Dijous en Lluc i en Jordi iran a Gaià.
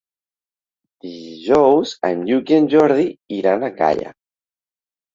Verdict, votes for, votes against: rejected, 1, 2